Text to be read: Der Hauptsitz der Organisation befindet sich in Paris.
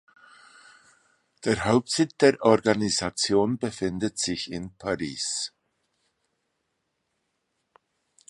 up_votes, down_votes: 1, 2